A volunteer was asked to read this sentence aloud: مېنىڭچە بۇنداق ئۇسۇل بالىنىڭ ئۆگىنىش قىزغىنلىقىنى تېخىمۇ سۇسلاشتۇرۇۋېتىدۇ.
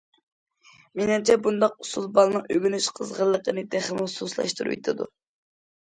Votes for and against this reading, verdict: 2, 0, accepted